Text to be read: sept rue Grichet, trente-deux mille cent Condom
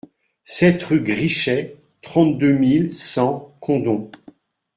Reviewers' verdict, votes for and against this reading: rejected, 1, 2